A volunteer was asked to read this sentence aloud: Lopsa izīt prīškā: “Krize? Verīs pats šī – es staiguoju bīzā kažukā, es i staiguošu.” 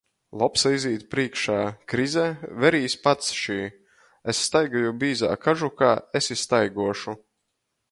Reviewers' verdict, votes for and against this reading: accepted, 2, 0